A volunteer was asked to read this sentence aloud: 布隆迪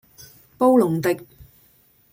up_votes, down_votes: 2, 0